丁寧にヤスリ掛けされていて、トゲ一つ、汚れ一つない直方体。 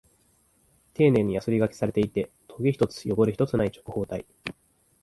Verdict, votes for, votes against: accepted, 3, 0